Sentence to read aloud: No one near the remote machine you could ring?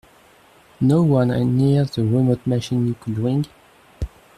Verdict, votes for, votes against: rejected, 0, 2